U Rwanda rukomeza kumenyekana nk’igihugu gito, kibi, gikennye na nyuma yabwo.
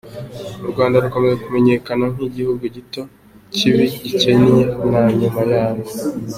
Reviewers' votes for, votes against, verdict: 2, 1, accepted